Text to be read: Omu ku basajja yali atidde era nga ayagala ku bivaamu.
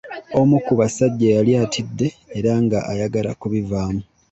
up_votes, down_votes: 2, 0